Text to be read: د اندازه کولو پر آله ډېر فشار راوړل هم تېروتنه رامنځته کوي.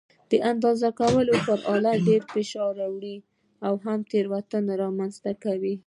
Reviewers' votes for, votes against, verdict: 0, 2, rejected